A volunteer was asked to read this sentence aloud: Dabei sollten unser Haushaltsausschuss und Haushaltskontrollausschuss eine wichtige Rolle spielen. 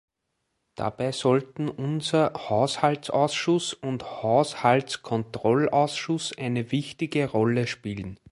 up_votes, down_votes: 2, 0